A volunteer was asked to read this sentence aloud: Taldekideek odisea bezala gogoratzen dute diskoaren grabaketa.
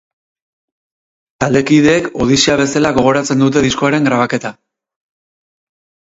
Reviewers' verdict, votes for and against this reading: accepted, 4, 0